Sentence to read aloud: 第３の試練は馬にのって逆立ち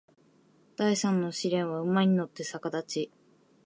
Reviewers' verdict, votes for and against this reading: rejected, 0, 2